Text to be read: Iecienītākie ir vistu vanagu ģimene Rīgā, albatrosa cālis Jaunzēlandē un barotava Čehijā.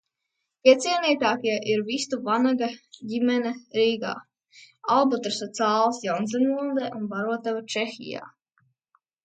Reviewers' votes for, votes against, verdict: 0, 2, rejected